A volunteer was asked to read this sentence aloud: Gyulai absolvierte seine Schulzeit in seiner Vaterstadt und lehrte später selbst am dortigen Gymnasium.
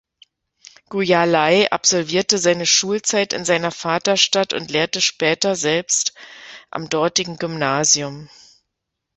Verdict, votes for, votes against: rejected, 1, 2